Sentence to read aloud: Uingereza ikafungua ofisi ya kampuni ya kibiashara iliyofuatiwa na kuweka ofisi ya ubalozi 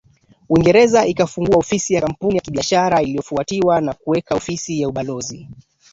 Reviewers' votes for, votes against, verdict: 0, 2, rejected